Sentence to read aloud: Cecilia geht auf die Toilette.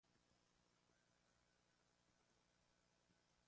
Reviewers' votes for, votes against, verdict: 0, 2, rejected